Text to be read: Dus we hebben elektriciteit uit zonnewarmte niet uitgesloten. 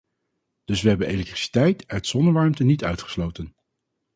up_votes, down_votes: 4, 0